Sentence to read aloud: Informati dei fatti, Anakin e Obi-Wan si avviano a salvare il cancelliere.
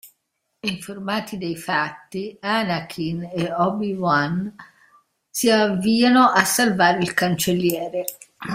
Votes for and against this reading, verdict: 0, 2, rejected